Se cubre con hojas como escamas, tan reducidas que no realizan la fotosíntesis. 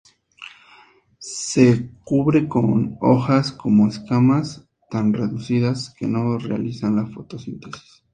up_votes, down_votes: 2, 2